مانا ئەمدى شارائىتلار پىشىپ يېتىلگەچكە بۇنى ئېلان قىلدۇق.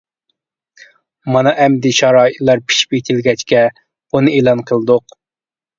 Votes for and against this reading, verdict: 2, 0, accepted